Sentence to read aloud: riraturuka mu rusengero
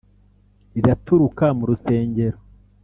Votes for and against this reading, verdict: 2, 0, accepted